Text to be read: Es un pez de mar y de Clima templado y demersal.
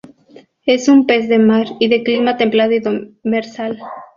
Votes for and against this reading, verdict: 0, 2, rejected